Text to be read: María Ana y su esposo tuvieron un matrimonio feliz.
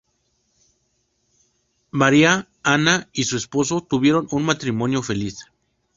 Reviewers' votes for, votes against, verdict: 6, 0, accepted